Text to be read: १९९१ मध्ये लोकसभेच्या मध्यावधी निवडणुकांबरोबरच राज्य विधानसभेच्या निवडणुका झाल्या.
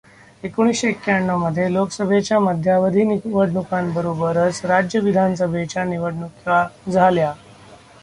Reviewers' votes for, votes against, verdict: 0, 2, rejected